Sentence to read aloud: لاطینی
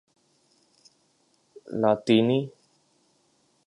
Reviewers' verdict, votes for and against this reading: accepted, 3, 0